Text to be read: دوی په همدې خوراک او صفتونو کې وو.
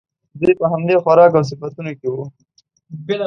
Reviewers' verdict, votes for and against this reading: accepted, 2, 0